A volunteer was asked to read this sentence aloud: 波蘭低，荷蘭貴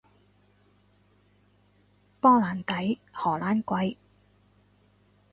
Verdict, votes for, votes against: accepted, 4, 0